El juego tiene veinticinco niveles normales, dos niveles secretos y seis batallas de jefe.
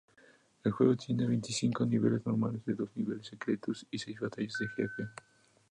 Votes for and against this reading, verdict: 0, 4, rejected